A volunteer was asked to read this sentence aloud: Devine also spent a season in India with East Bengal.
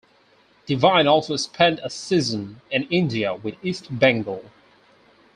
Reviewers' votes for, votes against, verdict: 0, 2, rejected